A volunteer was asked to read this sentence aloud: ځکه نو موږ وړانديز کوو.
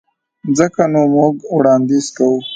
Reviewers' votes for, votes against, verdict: 2, 0, accepted